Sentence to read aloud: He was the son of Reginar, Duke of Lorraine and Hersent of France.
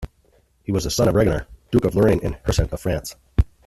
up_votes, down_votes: 1, 2